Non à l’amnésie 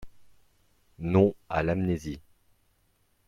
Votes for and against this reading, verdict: 2, 0, accepted